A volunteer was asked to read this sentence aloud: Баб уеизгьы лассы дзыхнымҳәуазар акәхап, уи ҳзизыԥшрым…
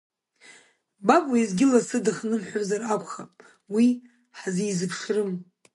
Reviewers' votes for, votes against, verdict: 0, 2, rejected